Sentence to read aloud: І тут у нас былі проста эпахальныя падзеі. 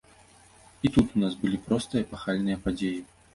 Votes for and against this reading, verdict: 1, 2, rejected